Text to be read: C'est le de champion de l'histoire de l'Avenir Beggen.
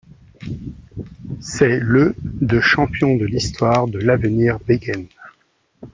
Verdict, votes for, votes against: accepted, 2, 0